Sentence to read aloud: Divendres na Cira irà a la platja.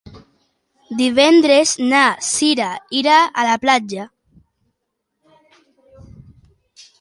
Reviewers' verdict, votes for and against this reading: accepted, 2, 0